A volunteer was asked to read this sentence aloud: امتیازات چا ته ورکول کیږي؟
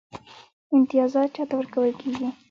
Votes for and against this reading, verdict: 3, 0, accepted